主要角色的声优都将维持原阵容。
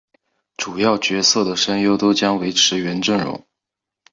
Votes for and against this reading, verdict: 2, 0, accepted